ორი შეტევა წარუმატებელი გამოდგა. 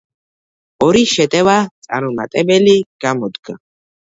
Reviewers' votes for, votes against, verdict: 2, 0, accepted